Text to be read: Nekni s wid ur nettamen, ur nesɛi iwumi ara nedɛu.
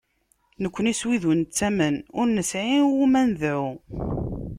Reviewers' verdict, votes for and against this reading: accepted, 2, 0